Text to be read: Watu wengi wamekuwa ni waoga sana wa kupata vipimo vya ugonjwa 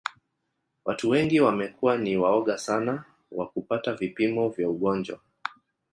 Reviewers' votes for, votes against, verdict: 2, 1, accepted